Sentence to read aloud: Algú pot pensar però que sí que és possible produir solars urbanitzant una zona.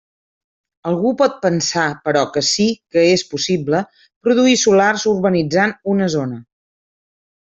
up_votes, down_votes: 1, 2